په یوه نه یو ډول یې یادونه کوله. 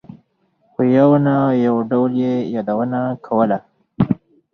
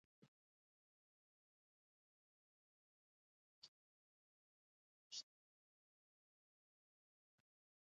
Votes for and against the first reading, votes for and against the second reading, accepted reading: 4, 0, 1, 2, first